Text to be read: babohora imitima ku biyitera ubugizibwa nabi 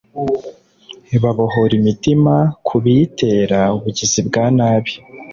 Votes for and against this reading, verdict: 0, 2, rejected